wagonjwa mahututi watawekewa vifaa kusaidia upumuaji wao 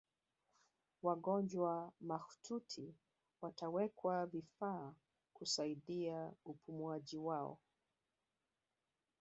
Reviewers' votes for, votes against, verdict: 2, 0, accepted